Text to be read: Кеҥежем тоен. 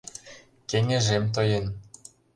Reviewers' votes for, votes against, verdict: 2, 0, accepted